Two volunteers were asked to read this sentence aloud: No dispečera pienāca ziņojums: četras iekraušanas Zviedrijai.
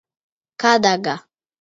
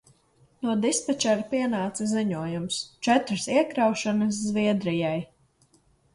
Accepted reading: second